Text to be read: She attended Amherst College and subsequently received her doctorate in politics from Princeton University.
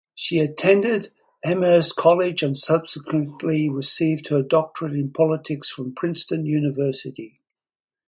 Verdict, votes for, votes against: accepted, 4, 0